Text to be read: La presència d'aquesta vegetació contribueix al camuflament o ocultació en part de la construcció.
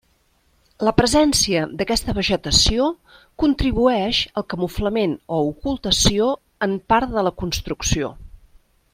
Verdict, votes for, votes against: accepted, 3, 0